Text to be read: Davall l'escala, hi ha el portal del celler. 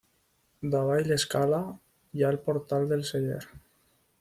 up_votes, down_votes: 2, 0